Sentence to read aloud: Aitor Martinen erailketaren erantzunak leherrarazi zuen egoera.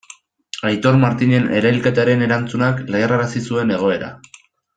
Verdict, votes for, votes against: accepted, 2, 0